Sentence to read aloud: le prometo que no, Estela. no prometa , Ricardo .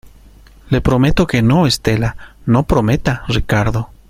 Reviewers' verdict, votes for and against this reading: accepted, 2, 0